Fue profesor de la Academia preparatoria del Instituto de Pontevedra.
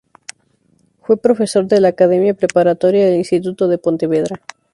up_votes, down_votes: 0, 2